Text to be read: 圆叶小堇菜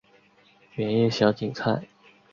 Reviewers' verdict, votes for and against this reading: accepted, 2, 1